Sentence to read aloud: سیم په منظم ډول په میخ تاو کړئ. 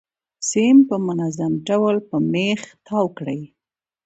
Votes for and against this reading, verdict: 2, 0, accepted